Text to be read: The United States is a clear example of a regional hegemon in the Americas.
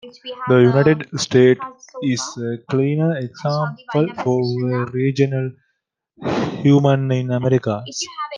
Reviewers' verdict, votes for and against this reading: rejected, 0, 2